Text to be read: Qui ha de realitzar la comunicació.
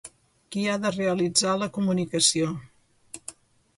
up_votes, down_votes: 2, 0